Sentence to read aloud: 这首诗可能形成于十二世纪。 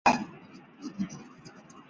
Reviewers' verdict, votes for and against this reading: rejected, 0, 4